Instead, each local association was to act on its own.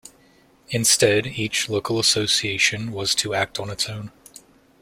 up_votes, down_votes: 2, 0